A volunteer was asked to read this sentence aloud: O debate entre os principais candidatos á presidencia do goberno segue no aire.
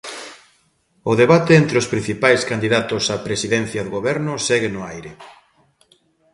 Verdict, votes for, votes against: accepted, 2, 0